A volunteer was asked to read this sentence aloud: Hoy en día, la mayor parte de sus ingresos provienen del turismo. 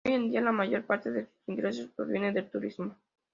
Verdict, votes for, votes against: accepted, 2, 0